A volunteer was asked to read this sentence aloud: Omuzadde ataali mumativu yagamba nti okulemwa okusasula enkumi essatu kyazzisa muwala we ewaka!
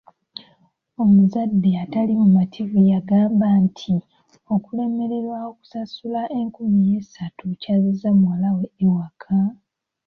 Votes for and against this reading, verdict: 0, 2, rejected